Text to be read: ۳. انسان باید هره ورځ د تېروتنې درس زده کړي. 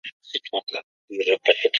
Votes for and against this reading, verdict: 0, 2, rejected